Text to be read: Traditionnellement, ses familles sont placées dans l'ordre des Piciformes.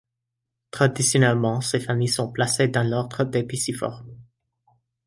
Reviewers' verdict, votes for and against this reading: accepted, 2, 0